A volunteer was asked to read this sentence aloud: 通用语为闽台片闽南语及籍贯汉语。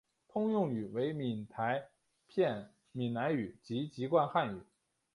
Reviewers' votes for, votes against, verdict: 5, 0, accepted